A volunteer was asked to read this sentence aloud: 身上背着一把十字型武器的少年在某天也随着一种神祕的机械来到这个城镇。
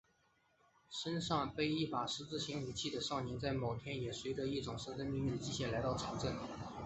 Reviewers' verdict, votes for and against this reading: accepted, 2, 0